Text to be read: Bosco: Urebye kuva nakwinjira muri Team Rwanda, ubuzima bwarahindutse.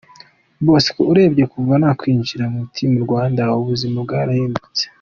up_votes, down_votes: 2, 0